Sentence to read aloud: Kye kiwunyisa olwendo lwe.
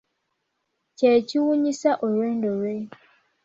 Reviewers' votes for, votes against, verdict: 2, 0, accepted